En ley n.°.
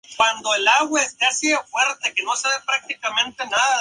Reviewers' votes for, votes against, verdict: 0, 2, rejected